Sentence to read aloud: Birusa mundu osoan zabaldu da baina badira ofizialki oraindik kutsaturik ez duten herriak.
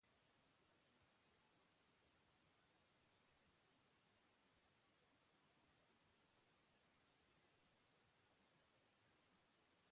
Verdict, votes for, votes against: rejected, 0, 3